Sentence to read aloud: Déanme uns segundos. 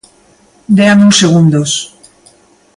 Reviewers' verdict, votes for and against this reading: accepted, 2, 0